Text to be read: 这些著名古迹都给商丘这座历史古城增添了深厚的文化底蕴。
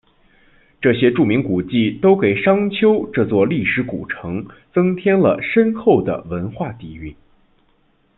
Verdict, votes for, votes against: accepted, 2, 0